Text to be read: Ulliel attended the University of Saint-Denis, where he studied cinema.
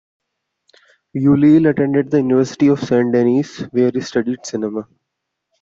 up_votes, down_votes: 1, 2